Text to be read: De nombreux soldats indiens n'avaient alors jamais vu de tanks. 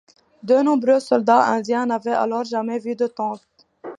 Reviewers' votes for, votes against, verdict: 2, 0, accepted